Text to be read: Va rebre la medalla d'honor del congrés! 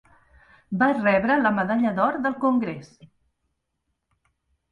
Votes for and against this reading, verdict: 0, 2, rejected